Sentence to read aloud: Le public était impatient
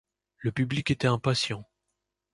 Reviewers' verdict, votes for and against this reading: accepted, 2, 0